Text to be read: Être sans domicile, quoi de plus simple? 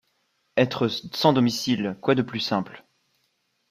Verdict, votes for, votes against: accepted, 2, 1